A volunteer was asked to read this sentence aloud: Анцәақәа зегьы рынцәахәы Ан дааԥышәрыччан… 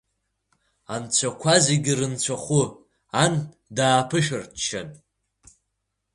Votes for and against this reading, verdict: 3, 0, accepted